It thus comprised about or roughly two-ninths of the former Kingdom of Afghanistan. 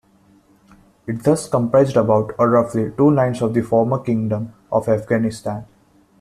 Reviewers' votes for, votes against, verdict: 1, 2, rejected